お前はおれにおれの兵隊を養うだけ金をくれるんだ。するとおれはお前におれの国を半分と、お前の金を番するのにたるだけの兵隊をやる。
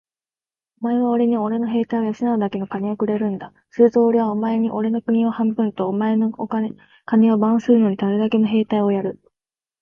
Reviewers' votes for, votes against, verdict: 2, 1, accepted